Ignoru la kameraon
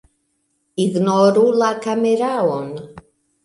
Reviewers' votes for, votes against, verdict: 2, 0, accepted